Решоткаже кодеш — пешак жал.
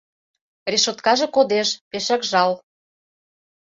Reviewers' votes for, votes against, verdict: 2, 0, accepted